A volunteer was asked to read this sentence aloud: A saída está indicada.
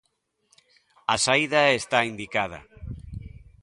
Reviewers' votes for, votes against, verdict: 2, 0, accepted